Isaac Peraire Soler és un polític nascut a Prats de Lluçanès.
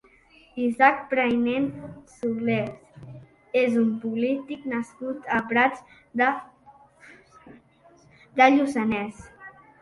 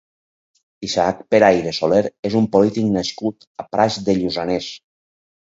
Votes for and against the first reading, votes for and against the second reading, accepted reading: 0, 2, 6, 2, second